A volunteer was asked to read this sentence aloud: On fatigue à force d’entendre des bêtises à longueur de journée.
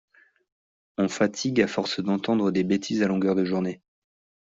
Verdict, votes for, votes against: accepted, 2, 0